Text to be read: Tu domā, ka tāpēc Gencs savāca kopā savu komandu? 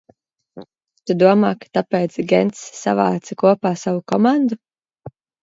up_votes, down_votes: 1, 2